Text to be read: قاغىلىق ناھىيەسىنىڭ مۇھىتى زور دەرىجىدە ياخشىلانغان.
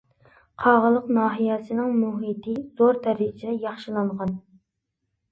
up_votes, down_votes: 2, 0